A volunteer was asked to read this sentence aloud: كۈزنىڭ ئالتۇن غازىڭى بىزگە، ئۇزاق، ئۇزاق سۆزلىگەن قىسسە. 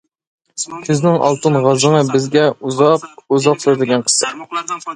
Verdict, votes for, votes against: rejected, 0, 2